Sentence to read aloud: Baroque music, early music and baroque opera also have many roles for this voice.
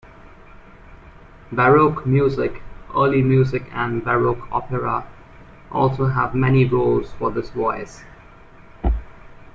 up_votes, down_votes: 2, 0